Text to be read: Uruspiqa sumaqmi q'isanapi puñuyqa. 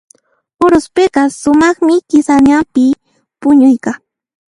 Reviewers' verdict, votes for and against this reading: rejected, 1, 2